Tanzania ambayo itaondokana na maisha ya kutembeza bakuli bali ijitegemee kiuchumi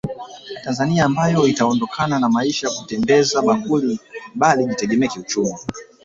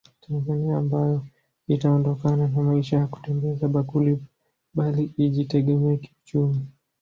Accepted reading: first